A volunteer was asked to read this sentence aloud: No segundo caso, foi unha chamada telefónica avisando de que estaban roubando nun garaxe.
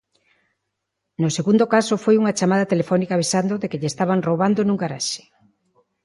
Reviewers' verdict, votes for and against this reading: rejected, 0, 2